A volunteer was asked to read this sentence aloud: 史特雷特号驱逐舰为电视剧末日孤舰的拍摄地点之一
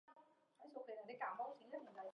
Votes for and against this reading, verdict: 0, 3, rejected